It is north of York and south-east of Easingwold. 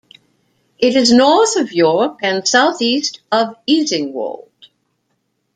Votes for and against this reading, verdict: 2, 0, accepted